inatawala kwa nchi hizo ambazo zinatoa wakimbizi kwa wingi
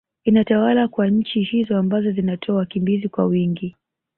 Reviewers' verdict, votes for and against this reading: accepted, 2, 0